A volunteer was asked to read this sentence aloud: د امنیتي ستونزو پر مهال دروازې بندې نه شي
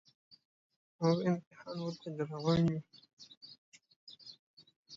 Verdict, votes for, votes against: rejected, 1, 2